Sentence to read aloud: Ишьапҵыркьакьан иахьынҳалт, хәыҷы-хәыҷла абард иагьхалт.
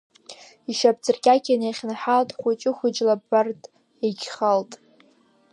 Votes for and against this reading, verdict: 2, 0, accepted